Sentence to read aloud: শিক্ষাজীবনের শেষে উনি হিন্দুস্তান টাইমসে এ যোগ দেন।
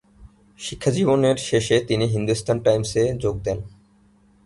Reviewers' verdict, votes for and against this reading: rejected, 1, 3